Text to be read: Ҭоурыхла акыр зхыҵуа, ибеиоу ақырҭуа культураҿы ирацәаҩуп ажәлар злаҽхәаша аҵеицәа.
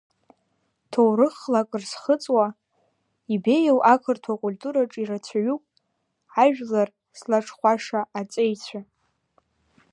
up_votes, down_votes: 1, 2